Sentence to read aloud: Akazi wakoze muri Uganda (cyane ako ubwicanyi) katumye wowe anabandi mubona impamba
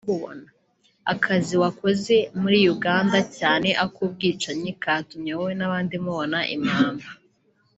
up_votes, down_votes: 1, 2